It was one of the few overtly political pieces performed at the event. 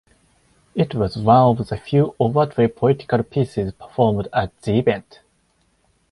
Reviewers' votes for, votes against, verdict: 4, 2, accepted